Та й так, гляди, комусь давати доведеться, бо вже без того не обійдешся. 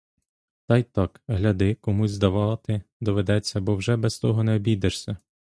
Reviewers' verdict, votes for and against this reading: rejected, 0, 2